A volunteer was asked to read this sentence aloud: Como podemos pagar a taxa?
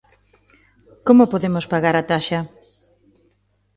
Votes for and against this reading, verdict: 2, 0, accepted